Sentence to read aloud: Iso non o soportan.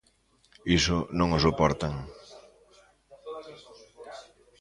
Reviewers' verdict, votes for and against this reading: rejected, 1, 2